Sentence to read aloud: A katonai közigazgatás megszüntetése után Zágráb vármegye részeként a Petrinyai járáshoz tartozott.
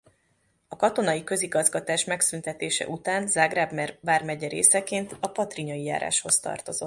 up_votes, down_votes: 0, 2